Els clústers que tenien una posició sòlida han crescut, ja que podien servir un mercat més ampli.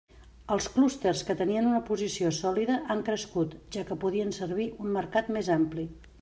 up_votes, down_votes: 3, 0